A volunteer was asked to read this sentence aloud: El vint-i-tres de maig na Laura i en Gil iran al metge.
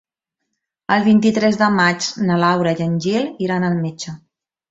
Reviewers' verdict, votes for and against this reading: accepted, 3, 0